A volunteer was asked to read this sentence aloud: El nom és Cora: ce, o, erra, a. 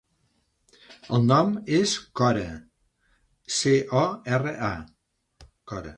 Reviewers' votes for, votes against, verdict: 0, 2, rejected